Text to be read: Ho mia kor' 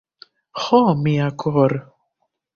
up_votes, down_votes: 1, 2